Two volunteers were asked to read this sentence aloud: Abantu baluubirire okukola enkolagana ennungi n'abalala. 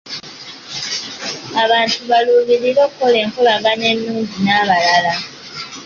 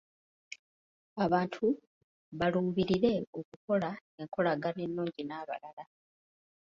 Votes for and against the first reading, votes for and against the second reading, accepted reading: 2, 1, 1, 2, first